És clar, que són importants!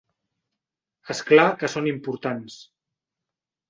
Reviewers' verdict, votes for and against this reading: accepted, 3, 0